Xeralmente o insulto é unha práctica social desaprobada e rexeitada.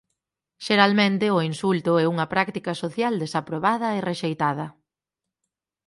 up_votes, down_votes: 4, 0